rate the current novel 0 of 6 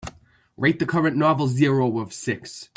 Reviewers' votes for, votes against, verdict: 0, 2, rejected